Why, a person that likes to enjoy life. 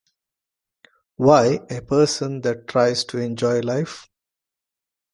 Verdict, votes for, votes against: rejected, 0, 2